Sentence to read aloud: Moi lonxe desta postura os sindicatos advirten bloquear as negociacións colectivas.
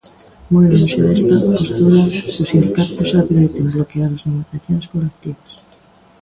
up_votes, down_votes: 1, 2